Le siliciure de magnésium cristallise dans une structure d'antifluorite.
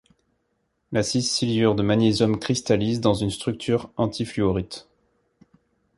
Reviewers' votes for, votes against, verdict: 1, 2, rejected